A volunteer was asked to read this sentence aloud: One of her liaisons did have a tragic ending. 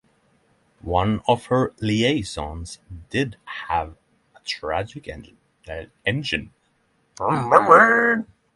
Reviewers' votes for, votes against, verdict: 0, 3, rejected